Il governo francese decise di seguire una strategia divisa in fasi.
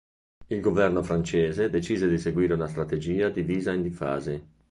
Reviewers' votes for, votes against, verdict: 1, 3, rejected